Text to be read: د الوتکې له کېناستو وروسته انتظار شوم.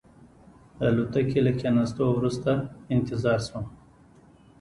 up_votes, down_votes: 2, 0